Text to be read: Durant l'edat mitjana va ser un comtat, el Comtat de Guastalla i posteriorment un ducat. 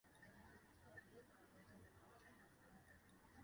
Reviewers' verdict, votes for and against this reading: rejected, 1, 2